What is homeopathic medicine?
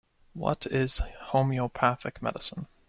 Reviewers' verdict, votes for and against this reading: accepted, 2, 0